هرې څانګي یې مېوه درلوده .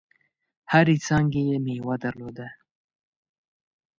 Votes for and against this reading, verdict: 2, 0, accepted